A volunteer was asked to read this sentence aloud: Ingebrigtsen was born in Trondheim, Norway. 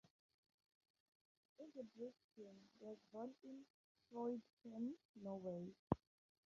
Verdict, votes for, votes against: rejected, 0, 2